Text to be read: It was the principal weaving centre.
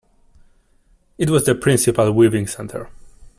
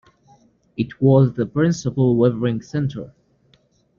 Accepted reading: first